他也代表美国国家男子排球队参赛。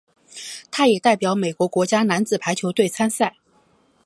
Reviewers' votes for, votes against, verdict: 4, 0, accepted